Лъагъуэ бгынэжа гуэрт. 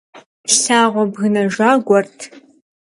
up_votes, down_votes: 2, 0